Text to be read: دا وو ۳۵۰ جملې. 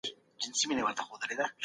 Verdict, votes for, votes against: rejected, 0, 2